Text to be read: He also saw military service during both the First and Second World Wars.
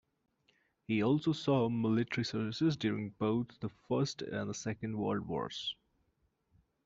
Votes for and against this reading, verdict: 0, 2, rejected